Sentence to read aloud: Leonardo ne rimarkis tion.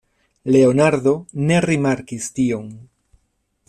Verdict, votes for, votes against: accepted, 2, 0